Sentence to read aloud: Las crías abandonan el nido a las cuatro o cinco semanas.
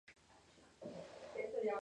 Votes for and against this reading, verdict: 0, 2, rejected